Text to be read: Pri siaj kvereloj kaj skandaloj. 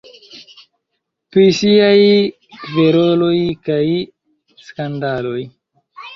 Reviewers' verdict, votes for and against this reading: rejected, 0, 2